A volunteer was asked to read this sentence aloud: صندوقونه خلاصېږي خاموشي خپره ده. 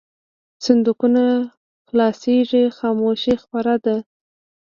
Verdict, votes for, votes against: rejected, 1, 2